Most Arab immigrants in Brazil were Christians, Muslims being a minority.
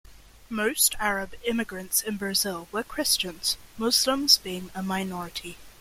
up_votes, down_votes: 2, 0